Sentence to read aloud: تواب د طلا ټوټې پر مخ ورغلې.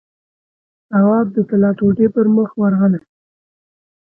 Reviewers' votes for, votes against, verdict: 2, 1, accepted